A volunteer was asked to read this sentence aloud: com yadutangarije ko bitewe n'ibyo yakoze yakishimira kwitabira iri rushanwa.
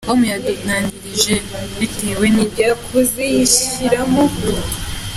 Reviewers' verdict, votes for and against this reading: rejected, 0, 2